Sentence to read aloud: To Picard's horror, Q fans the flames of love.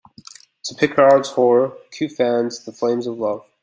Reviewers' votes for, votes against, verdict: 2, 0, accepted